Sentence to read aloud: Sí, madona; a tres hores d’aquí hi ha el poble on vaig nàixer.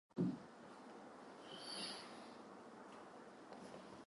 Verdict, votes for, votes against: rejected, 0, 2